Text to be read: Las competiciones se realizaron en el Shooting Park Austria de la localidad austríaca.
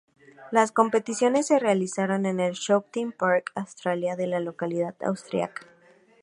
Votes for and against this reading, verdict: 2, 0, accepted